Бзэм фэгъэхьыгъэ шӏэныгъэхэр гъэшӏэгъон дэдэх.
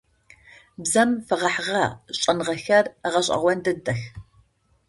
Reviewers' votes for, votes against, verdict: 2, 0, accepted